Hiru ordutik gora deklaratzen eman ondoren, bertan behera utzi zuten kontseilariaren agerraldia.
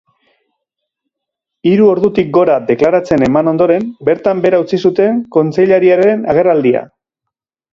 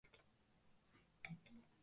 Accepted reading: first